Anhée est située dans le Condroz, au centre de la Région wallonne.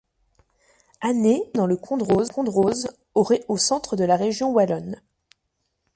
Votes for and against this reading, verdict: 0, 2, rejected